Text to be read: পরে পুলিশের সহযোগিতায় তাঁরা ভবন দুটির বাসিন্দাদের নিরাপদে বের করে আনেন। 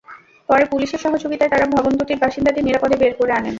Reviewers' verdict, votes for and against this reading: rejected, 0, 2